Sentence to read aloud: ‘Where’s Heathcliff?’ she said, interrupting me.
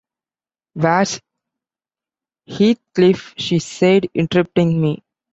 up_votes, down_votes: 2, 1